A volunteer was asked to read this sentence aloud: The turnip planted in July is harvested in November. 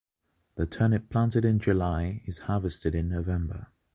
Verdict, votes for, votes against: accepted, 2, 0